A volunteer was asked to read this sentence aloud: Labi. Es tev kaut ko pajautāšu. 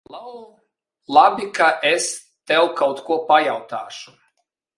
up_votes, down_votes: 0, 2